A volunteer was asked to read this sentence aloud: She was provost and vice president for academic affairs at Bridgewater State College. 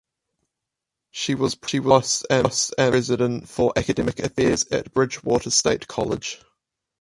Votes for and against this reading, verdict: 0, 4, rejected